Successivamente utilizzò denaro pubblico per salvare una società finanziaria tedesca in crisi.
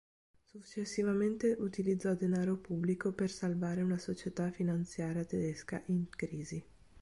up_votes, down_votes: 2, 0